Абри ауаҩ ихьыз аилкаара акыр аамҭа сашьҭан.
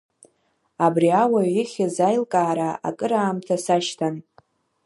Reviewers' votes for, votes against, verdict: 1, 2, rejected